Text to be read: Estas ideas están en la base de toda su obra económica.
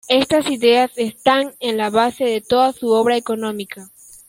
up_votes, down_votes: 2, 0